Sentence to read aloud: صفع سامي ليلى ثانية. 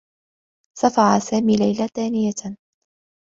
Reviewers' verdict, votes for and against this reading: accepted, 2, 0